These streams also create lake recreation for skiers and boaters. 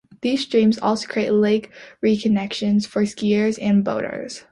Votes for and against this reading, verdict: 0, 2, rejected